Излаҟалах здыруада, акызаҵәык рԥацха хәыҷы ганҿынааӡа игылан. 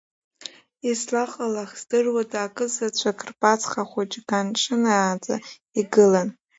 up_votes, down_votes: 2, 0